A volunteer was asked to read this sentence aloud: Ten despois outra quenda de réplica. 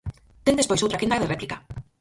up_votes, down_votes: 0, 4